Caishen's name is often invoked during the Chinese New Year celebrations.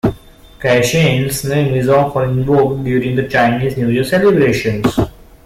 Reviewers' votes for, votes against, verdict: 2, 1, accepted